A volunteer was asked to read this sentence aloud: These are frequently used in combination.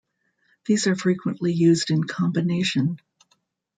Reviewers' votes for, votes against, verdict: 2, 0, accepted